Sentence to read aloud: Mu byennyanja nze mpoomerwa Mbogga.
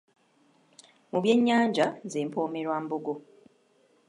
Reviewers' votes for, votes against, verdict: 0, 2, rejected